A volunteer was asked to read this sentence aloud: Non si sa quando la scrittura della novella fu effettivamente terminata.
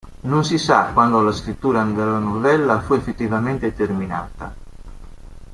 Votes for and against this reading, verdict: 1, 2, rejected